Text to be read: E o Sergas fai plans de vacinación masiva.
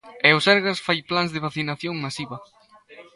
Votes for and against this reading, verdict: 2, 0, accepted